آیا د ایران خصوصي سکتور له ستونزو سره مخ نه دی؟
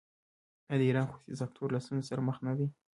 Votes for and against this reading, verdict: 2, 1, accepted